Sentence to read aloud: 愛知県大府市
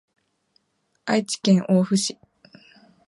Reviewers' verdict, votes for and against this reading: accepted, 3, 0